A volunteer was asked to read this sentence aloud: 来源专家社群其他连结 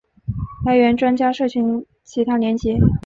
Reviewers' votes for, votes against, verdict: 2, 0, accepted